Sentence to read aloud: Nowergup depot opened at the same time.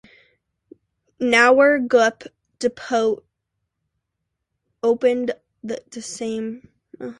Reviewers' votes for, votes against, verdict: 1, 2, rejected